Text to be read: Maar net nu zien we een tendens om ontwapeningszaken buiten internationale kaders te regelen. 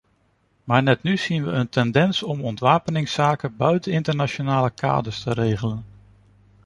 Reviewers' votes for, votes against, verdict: 2, 1, accepted